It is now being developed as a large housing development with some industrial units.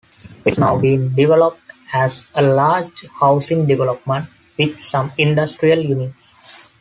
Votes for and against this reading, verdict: 2, 1, accepted